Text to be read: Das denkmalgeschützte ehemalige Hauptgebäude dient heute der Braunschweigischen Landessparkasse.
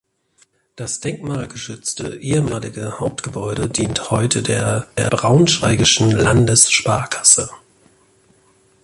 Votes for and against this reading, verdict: 0, 2, rejected